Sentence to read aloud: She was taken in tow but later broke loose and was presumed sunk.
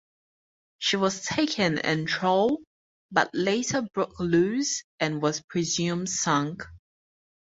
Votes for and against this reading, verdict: 2, 2, rejected